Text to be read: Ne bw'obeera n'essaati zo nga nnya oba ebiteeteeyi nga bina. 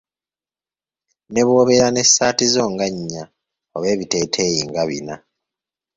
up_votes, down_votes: 2, 0